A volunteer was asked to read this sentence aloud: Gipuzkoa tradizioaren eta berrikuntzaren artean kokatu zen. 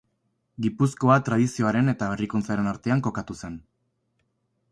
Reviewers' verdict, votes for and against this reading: accepted, 4, 0